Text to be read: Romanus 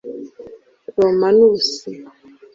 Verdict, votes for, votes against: rejected, 1, 2